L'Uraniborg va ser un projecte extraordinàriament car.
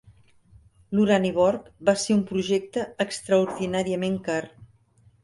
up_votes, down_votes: 3, 0